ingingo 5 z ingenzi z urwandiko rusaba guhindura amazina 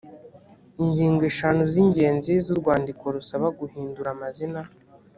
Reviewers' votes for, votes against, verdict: 0, 2, rejected